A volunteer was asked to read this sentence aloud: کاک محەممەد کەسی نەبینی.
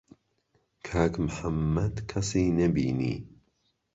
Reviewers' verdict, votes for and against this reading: accepted, 2, 0